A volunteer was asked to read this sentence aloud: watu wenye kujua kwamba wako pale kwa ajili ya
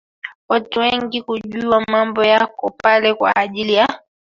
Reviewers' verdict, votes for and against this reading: rejected, 1, 2